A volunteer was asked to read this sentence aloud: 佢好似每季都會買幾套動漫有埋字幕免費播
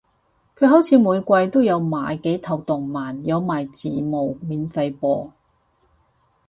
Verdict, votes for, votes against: rejected, 2, 6